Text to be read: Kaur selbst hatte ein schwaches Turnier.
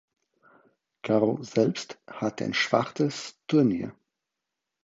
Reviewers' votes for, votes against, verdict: 0, 4, rejected